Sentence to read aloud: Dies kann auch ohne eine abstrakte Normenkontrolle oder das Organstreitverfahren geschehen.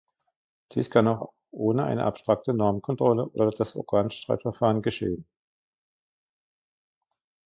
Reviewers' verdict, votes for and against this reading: accepted, 2, 1